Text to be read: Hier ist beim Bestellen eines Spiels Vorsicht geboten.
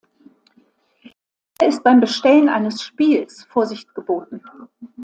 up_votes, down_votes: 0, 2